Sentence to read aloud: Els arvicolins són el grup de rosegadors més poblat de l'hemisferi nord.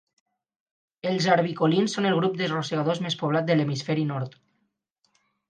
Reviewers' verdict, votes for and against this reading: accepted, 4, 0